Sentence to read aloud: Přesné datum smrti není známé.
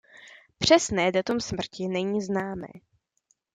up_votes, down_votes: 2, 0